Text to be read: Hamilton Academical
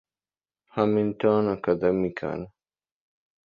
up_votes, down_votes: 0, 2